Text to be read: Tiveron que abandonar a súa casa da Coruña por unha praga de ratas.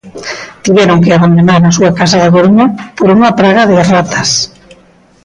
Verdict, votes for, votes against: accepted, 2, 0